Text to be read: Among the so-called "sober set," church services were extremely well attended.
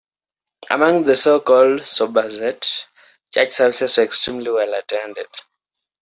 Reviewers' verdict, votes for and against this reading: rejected, 0, 2